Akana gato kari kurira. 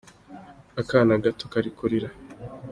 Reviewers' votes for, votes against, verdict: 2, 0, accepted